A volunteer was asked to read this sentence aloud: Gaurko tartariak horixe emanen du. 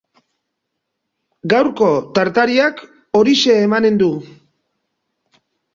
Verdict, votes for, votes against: accepted, 3, 0